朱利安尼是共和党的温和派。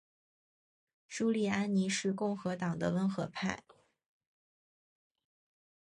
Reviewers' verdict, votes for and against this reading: accepted, 5, 0